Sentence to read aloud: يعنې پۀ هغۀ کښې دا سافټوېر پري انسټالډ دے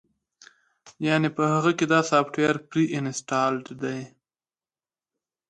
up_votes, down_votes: 3, 1